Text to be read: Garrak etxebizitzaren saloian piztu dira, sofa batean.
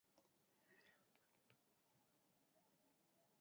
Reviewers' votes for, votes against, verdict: 1, 2, rejected